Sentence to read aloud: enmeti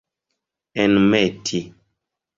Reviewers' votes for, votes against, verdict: 2, 0, accepted